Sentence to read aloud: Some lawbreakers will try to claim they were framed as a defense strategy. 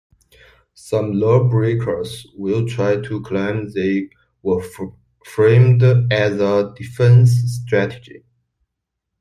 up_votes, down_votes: 0, 2